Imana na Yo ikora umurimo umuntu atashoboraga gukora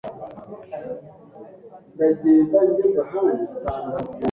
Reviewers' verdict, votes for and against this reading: rejected, 1, 2